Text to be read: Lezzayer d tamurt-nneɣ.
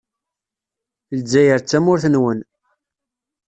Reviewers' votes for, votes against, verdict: 0, 2, rejected